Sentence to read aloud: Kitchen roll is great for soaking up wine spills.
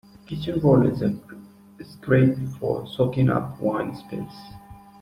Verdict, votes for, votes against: rejected, 0, 2